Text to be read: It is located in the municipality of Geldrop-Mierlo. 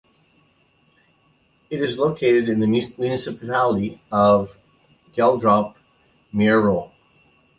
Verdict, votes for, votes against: rejected, 0, 2